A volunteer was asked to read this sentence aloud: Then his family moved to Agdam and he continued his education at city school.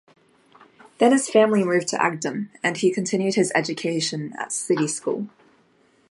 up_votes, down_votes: 2, 0